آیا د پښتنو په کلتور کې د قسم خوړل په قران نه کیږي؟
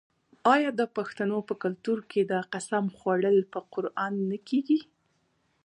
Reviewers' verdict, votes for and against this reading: rejected, 1, 2